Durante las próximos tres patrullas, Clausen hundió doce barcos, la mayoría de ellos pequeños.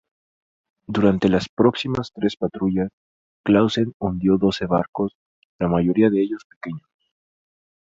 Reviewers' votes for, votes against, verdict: 0, 2, rejected